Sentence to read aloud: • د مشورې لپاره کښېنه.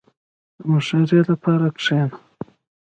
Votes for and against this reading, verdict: 0, 2, rejected